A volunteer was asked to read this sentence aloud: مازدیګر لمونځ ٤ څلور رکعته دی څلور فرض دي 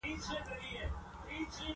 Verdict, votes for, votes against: rejected, 0, 2